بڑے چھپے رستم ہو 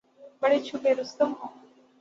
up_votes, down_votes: 6, 0